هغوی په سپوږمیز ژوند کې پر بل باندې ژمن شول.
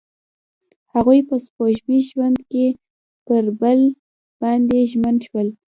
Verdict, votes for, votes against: accepted, 2, 0